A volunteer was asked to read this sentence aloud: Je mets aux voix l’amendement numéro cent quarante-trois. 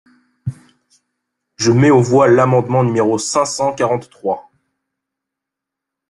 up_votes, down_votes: 1, 2